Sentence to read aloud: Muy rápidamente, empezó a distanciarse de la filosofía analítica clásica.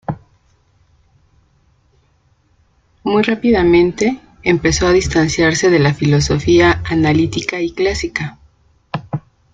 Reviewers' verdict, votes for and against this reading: rejected, 0, 2